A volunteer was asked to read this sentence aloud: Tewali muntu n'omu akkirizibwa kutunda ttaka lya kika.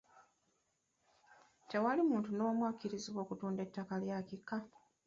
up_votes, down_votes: 2, 0